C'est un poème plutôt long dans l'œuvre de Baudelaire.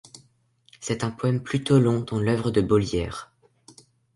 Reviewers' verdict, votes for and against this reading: rejected, 1, 2